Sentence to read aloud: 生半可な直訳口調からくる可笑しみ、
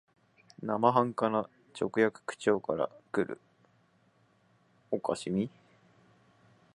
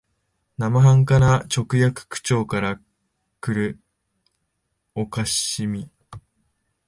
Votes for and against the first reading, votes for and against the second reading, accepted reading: 0, 2, 2, 0, second